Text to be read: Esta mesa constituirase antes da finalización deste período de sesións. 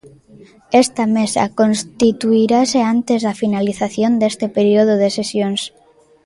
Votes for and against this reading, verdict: 2, 0, accepted